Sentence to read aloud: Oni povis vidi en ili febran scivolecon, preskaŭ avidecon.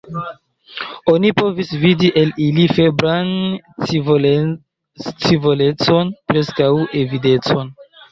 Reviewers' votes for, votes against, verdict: 1, 3, rejected